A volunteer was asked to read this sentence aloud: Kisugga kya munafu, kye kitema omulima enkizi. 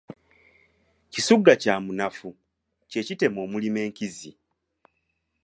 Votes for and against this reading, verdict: 2, 0, accepted